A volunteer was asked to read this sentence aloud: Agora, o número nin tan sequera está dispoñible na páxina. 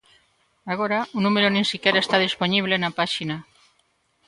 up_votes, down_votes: 0, 2